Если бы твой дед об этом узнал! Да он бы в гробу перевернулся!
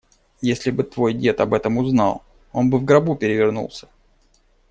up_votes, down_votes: 1, 2